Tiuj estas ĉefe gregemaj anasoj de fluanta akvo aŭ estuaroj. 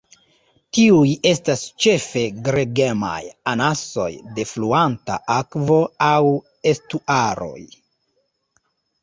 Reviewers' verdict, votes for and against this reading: accepted, 2, 1